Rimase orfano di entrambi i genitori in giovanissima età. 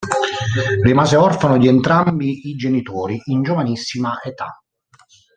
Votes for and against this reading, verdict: 0, 2, rejected